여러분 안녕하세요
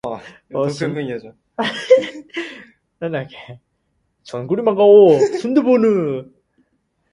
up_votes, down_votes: 0, 4